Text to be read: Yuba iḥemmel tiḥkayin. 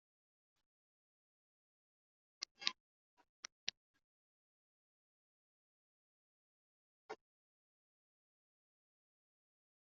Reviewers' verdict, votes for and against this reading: rejected, 1, 2